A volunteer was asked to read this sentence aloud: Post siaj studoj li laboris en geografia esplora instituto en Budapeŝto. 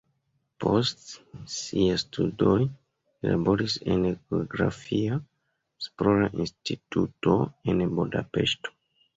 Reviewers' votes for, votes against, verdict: 1, 2, rejected